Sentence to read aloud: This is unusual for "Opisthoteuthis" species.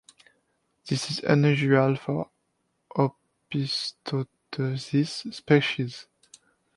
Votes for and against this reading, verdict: 0, 2, rejected